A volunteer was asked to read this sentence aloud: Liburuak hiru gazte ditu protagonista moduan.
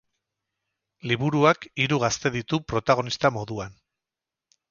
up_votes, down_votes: 2, 2